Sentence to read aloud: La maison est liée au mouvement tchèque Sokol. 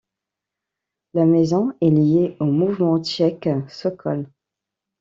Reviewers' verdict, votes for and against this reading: accepted, 2, 0